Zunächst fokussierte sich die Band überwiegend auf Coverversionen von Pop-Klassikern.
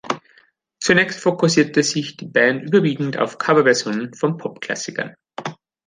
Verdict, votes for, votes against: accepted, 2, 0